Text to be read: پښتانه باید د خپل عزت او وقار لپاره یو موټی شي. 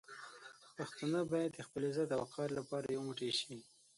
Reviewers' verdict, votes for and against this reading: rejected, 0, 6